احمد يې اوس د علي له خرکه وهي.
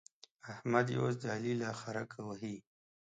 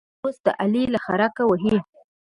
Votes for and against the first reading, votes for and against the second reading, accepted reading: 2, 0, 2, 3, first